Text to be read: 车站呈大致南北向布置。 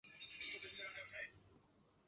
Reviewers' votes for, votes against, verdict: 2, 1, accepted